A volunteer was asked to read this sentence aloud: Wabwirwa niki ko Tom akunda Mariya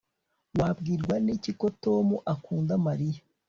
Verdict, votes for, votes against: accepted, 3, 0